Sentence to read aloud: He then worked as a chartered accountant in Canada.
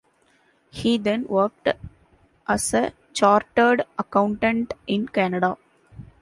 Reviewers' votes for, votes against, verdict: 2, 0, accepted